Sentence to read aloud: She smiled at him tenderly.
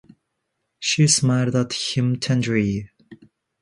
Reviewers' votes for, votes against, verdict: 1, 2, rejected